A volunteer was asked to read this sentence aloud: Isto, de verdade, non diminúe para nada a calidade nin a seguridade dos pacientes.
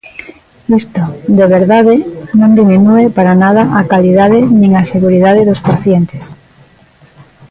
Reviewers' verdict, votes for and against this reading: rejected, 0, 2